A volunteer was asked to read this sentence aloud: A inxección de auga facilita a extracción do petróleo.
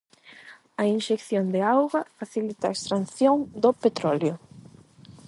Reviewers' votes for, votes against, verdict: 4, 4, rejected